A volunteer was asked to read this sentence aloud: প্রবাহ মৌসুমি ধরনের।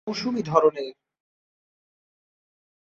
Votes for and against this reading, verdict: 0, 2, rejected